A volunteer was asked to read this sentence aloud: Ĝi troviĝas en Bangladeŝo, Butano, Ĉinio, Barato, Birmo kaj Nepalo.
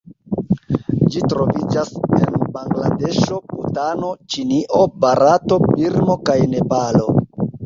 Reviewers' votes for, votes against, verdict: 2, 0, accepted